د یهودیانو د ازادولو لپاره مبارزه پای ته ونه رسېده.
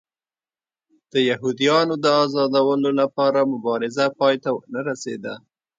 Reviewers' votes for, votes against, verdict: 3, 0, accepted